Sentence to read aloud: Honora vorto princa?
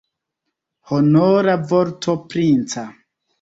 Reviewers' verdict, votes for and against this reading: accepted, 2, 0